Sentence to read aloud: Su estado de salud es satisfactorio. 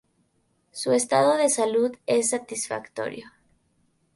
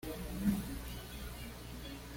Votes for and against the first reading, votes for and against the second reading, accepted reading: 2, 0, 1, 2, first